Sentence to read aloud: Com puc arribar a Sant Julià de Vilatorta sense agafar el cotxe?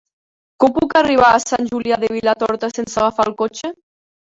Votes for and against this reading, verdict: 1, 2, rejected